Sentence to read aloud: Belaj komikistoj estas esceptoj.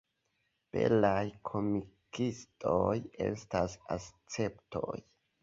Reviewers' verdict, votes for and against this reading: accepted, 2, 0